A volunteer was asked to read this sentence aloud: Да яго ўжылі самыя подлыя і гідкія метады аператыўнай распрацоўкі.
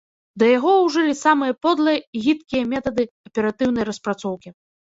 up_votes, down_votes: 1, 2